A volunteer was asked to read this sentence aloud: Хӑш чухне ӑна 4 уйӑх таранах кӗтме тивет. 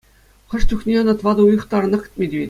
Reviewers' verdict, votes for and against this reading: rejected, 0, 2